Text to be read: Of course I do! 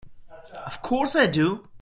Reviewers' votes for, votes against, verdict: 0, 2, rejected